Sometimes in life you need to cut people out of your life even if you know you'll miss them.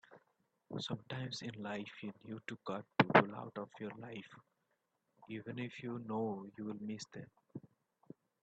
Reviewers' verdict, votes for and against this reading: rejected, 0, 3